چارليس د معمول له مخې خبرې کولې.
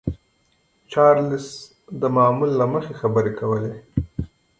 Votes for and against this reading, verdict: 2, 0, accepted